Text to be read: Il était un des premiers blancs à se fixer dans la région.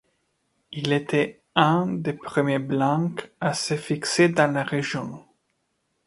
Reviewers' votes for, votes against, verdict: 2, 1, accepted